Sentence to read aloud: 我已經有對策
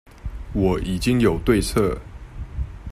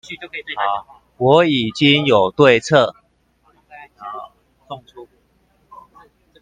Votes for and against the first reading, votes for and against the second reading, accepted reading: 2, 0, 0, 2, first